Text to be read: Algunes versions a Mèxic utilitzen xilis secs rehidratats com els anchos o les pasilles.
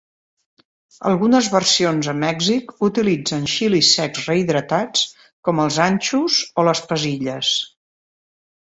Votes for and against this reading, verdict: 2, 0, accepted